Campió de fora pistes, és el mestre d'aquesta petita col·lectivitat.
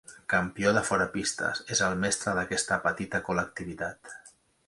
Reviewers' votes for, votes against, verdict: 2, 0, accepted